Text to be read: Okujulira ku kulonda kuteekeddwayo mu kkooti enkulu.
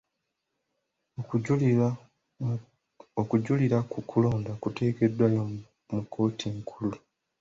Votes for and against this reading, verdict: 2, 0, accepted